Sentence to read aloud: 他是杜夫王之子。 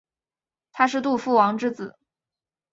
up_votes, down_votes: 4, 0